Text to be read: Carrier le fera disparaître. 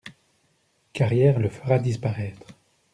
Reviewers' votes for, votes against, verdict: 0, 2, rejected